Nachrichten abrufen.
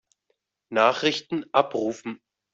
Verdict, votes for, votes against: accepted, 2, 0